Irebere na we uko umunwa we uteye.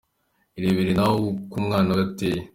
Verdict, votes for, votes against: rejected, 0, 2